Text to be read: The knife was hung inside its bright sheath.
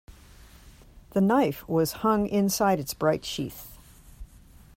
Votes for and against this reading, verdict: 3, 0, accepted